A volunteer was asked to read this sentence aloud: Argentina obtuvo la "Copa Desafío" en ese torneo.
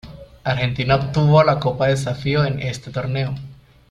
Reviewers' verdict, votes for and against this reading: rejected, 1, 2